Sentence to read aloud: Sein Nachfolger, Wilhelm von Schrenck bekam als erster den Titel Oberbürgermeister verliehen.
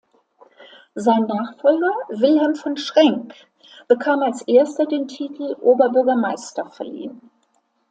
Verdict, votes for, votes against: accepted, 2, 0